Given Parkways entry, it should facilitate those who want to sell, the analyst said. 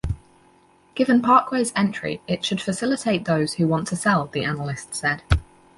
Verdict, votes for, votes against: accepted, 6, 0